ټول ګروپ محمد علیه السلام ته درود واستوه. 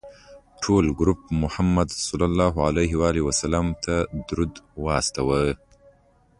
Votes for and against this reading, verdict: 2, 0, accepted